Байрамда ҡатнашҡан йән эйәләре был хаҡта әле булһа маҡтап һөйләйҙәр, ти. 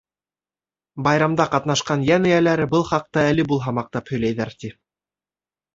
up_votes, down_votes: 2, 0